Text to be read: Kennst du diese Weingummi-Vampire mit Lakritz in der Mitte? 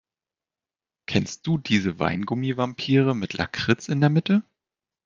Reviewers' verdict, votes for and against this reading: accepted, 2, 0